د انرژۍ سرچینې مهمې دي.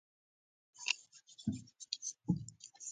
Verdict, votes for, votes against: rejected, 0, 2